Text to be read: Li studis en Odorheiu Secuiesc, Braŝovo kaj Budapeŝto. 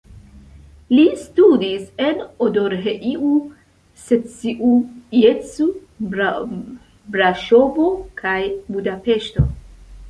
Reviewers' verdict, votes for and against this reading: accepted, 2, 0